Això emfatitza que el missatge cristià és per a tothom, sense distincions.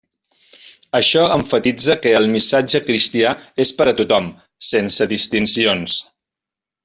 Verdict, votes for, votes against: rejected, 0, 2